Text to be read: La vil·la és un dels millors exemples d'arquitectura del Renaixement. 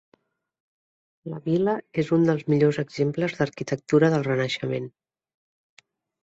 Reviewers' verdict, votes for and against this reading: accepted, 3, 0